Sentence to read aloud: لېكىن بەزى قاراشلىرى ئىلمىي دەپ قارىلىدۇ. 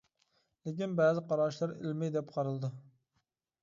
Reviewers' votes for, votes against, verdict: 2, 0, accepted